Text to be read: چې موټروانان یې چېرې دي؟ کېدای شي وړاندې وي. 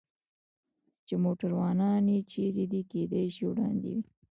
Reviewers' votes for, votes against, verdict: 1, 2, rejected